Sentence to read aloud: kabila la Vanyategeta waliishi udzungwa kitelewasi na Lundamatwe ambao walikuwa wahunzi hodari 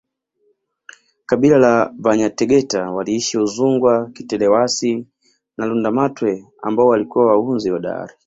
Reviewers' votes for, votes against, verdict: 2, 0, accepted